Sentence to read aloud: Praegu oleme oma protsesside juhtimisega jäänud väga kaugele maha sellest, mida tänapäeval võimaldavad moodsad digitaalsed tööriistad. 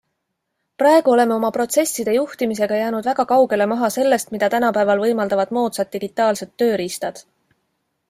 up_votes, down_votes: 2, 0